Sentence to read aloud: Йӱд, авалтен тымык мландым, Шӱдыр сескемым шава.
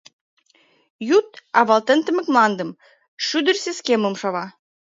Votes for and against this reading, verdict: 0, 2, rejected